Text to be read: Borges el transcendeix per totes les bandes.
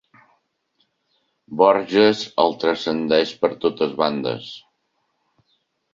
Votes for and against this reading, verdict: 1, 2, rejected